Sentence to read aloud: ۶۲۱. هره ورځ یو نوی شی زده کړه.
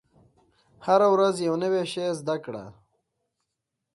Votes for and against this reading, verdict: 0, 2, rejected